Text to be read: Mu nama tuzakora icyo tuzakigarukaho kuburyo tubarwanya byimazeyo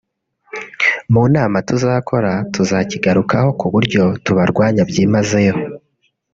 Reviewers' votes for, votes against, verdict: 1, 2, rejected